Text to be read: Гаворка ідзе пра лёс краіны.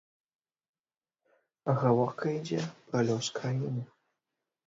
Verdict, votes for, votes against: accepted, 2, 0